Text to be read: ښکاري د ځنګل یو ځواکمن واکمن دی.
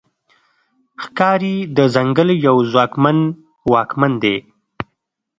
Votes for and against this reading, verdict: 2, 0, accepted